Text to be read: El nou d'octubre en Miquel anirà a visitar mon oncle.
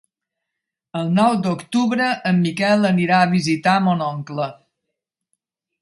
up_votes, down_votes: 2, 1